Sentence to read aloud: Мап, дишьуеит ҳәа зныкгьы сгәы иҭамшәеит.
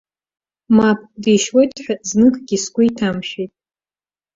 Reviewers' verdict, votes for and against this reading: accepted, 2, 0